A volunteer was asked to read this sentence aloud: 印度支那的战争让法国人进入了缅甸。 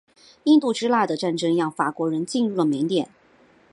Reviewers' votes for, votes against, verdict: 2, 0, accepted